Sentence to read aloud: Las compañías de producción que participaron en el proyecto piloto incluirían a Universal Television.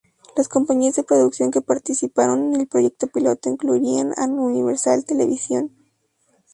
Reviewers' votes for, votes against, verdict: 0, 2, rejected